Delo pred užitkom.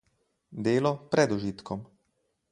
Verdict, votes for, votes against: rejected, 2, 2